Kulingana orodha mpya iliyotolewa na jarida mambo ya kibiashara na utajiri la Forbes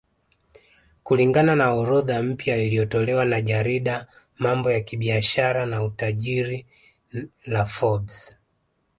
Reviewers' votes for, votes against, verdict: 1, 2, rejected